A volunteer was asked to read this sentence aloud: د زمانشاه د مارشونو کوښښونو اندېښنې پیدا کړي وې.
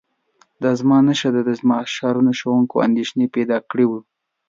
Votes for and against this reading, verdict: 0, 2, rejected